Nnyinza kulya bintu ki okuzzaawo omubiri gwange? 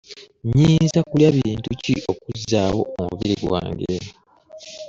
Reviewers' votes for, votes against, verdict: 0, 2, rejected